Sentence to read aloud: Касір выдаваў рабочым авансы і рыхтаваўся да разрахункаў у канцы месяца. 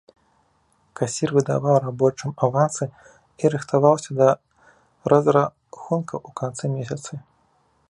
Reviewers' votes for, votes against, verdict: 0, 2, rejected